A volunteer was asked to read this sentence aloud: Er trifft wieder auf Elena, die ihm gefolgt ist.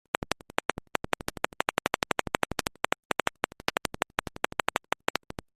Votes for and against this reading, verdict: 0, 2, rejected